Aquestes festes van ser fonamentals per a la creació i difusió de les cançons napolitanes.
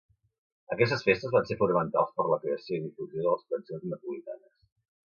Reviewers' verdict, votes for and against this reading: rejected, 1, 2